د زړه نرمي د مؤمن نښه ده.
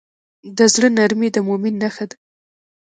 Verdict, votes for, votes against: rejected, 0, 2